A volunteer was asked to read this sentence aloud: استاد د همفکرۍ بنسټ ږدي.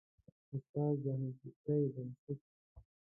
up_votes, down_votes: 0, 2